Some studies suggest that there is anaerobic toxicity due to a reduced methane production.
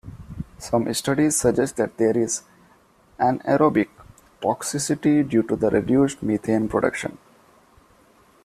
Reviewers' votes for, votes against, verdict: 2, 1, accepted